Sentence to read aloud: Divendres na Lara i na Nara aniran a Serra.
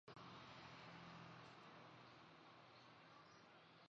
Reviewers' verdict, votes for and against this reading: rejected, 0, 2